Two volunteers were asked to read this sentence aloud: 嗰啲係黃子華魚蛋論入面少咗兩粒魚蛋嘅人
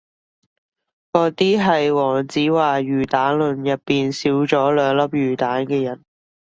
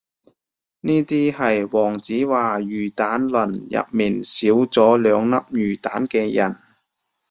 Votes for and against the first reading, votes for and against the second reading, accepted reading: 2, 1, 0, 2, first